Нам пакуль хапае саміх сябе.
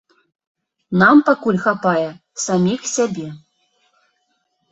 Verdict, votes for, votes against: accepted, 2, 0